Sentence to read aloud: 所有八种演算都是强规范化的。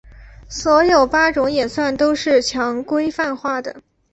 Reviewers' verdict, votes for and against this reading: accepted, 4, 0